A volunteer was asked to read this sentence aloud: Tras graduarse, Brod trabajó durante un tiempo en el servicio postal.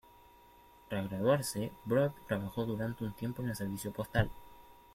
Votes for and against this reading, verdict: 2, 0, accepted